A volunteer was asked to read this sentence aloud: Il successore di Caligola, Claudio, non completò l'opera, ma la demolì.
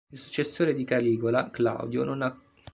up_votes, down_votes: 0, 2